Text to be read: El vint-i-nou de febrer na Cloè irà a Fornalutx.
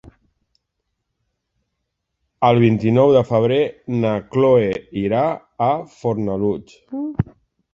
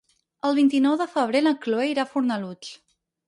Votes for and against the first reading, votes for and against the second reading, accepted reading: 3, 1, 2, 4, first